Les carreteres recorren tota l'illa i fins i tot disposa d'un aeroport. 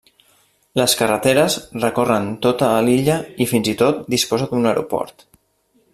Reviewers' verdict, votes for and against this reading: rejected, 1, 2